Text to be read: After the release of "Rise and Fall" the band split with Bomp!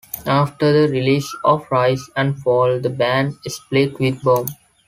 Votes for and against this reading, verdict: 3, 0, accepted